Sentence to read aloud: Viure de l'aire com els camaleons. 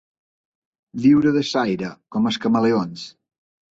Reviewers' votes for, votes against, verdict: 1, 2, rejected